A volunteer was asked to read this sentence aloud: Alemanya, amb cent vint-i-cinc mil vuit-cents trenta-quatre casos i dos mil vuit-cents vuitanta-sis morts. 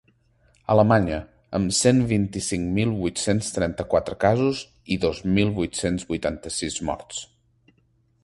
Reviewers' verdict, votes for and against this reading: accepted, 3, 0